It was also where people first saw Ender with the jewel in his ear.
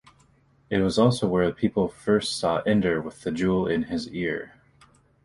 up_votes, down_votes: 2, 0